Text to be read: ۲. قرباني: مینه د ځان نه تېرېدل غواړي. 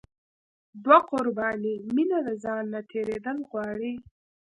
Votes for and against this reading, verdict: 0, 2, rejected